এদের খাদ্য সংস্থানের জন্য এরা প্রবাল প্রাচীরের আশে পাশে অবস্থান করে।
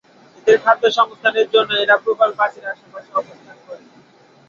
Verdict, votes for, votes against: rejected, 0, 2